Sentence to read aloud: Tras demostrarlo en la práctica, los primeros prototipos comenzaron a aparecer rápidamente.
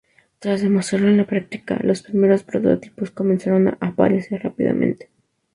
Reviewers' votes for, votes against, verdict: 2, 0, accepted